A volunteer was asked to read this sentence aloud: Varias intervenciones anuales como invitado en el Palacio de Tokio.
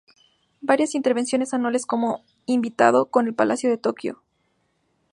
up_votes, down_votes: 0, 2